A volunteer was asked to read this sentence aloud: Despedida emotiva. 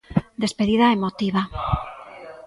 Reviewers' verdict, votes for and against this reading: rejected, 1, 2